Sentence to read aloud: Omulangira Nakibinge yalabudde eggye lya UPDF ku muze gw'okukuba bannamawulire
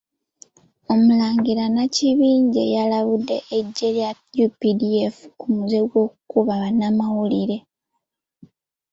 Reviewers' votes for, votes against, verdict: 2, 0, accepted